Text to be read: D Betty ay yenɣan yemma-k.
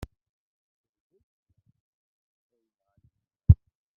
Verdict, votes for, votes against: rejected, 0, 2